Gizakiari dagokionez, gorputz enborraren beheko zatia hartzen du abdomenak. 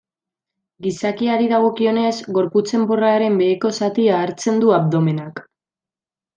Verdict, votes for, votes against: accepted, 2, 0